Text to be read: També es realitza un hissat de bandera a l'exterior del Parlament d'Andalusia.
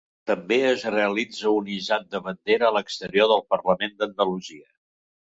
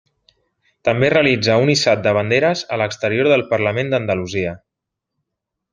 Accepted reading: first